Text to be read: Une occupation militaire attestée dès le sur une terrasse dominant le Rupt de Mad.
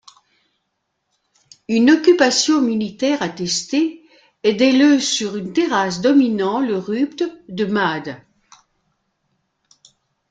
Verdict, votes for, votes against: rejected, 1, 2